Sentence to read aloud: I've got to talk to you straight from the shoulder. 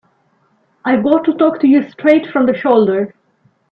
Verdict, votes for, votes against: rejected, 1, 2